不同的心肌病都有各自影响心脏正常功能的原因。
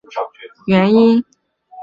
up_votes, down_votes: 0, 2